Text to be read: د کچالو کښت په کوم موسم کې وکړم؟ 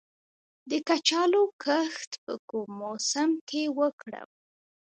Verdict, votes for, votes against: rejected, 1, 2